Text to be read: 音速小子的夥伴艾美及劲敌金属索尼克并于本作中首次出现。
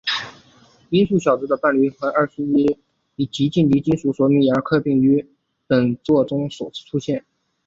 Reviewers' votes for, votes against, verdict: 4, 0, accepted